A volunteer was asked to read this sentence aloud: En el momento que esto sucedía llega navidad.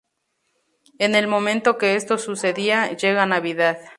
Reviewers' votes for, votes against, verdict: 4, 0, accepted